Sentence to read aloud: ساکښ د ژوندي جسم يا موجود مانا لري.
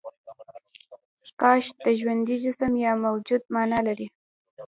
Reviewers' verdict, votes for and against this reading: rejected, 0, 2